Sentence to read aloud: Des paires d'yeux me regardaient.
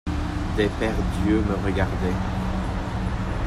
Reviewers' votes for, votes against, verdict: 0, 2, rejected